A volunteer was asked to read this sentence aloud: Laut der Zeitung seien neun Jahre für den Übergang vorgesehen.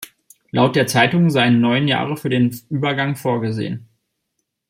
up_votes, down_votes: 2, 0